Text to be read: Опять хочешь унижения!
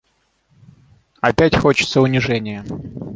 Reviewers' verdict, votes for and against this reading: rejected, 0, 6